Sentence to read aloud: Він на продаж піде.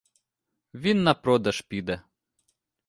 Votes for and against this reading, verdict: 2, 0, accepted